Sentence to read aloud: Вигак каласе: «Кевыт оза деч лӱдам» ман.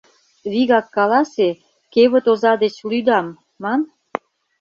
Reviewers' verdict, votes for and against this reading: accepted, 2, 0